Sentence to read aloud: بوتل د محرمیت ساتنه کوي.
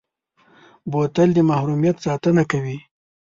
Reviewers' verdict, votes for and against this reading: accepted, 2, 0